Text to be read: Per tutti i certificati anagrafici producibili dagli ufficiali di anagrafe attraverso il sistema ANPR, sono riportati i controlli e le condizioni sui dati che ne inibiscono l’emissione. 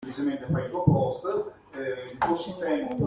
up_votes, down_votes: 0, 2